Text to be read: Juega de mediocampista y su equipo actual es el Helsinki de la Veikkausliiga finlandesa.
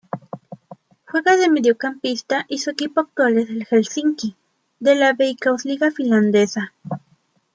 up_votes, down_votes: 1, 2